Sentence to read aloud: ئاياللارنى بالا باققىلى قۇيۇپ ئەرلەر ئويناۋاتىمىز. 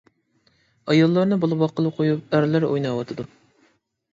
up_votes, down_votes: 1, 2